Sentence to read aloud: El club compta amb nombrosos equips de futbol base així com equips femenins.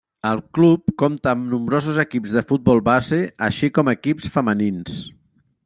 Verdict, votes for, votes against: rejected, 1, 2